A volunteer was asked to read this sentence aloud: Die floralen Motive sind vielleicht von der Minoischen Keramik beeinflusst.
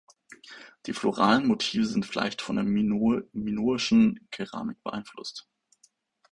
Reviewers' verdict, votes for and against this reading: rejected, 0, 2